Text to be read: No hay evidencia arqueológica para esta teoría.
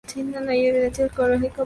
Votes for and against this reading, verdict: 0, 2, rejected